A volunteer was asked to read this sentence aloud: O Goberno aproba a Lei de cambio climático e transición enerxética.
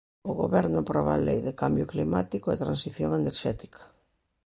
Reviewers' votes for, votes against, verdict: 2, 0, accepted